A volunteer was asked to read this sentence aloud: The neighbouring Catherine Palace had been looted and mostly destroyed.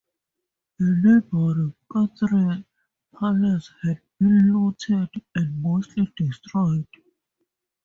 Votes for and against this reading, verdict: 0, 2, rejected